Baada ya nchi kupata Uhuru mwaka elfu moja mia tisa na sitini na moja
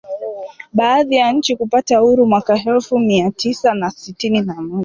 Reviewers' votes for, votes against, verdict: 1, 2, rejected